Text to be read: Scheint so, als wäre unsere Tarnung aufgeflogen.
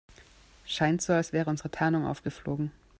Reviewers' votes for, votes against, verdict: 2, 0, accepted